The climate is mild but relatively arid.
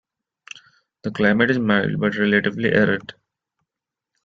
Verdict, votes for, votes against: accepted, 2, 1